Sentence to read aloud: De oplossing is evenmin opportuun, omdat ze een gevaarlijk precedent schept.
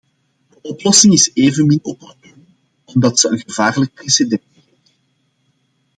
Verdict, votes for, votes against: rejected, 0, 2